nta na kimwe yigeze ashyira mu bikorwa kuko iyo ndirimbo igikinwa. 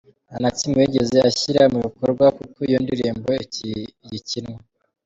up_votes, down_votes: 1, 2